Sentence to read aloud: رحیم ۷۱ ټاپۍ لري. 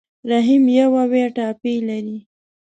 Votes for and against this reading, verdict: 0, 2, rejected